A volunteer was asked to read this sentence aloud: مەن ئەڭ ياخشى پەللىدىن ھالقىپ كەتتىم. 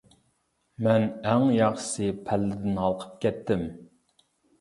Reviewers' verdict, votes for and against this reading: rejected, 0, 2